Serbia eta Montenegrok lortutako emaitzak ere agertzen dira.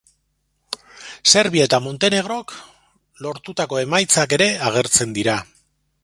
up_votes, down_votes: 1, 2